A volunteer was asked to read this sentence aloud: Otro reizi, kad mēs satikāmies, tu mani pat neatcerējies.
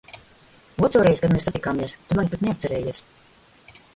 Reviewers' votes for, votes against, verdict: 0, 2, rejected